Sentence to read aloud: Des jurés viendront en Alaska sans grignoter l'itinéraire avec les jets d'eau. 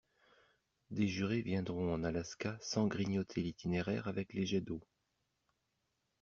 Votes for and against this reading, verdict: 2, 0, accepted